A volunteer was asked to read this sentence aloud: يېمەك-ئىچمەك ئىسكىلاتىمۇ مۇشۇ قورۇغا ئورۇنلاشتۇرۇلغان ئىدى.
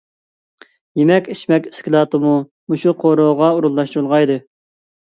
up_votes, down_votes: 2, 1